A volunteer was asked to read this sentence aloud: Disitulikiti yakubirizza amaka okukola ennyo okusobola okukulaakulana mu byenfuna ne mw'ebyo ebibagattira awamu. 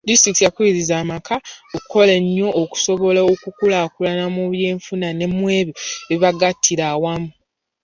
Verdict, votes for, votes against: accepted, 2, 0